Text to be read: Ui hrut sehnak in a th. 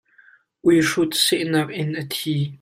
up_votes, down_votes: 1, 2